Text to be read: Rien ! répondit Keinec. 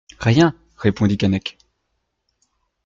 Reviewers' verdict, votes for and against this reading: accepted, 2, 0